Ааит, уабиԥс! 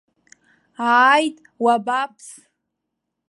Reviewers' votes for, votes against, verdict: 0, 2, rejected